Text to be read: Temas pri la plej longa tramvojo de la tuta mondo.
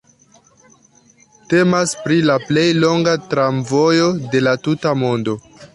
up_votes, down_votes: 2, 0